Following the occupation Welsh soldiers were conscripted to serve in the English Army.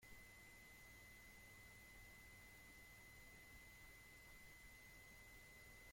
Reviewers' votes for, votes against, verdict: 0, 2, rejected